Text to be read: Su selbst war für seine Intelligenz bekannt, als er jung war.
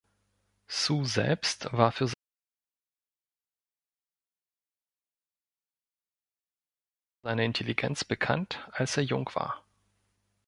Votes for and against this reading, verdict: 0, 2, rejected